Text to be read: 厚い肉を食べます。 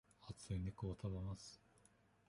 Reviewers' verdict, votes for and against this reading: rejected, 1, 2